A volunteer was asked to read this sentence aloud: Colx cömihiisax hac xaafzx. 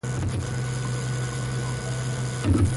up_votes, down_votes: 1, 2